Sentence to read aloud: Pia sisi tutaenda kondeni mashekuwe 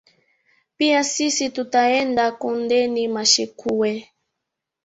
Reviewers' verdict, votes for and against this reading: rejected, 0, 2